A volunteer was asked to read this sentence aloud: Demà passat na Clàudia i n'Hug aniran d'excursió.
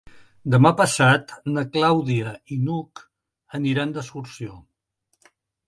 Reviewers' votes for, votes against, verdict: 3, 0, accepted